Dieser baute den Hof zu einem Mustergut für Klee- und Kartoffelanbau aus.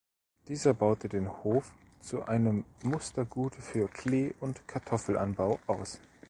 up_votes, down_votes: 2, 0